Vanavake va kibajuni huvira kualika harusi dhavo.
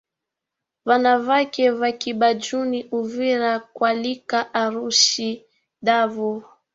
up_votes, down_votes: 1, 3